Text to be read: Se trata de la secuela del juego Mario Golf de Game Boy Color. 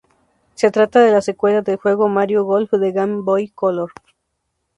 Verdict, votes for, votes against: accepted, 2, 0